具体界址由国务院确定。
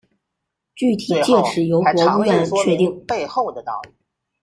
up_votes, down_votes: 1, 2